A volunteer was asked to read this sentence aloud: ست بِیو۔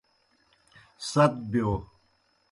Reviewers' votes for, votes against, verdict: 2, 0, accepted